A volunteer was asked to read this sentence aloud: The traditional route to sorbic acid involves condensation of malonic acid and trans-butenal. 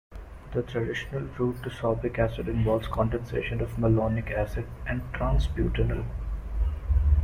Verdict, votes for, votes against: accepted, 2, 0